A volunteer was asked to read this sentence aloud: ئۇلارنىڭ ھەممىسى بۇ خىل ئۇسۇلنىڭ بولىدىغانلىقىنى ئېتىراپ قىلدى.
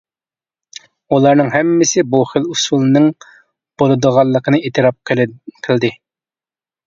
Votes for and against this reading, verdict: 1, 2, rejected